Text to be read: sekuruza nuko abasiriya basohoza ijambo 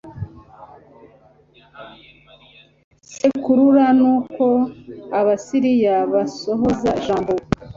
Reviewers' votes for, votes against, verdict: 1, 2, rejected